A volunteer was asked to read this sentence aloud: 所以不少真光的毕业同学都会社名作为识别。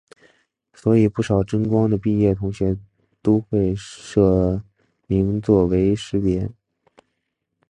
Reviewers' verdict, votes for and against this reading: accepted, 2, 0